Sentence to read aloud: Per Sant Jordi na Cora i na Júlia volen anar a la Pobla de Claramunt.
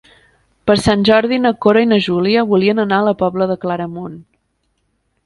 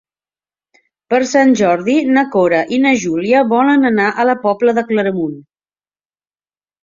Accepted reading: second